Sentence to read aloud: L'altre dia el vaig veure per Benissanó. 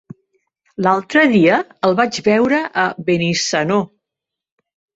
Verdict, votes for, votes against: rejected, 1, 2